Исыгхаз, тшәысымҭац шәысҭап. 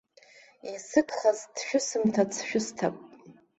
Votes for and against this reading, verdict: 2, 0, accepted